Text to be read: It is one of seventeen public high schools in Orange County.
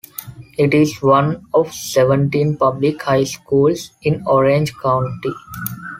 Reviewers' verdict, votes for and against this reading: accepted, 2, 0